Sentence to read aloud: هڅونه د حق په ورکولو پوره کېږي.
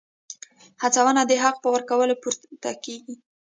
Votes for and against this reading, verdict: 1, 2, rejected